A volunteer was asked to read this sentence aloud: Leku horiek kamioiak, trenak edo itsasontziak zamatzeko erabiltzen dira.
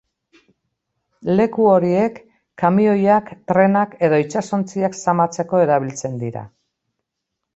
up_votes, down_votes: 4, 0